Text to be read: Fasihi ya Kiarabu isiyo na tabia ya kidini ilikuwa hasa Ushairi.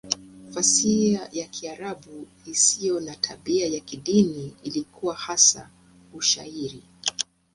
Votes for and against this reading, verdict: 2, 0, accepted